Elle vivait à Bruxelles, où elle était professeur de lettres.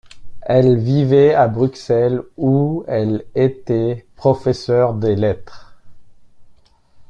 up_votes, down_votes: 1, 2